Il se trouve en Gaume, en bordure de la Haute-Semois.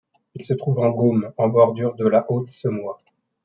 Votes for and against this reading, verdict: 2, 0, accepted